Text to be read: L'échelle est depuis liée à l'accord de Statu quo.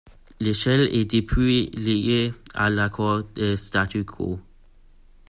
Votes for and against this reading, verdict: 2, 0, accepted